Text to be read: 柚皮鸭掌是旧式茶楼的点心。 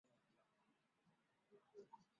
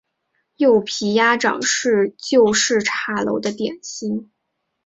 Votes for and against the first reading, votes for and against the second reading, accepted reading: 2, 7, 2, 0, second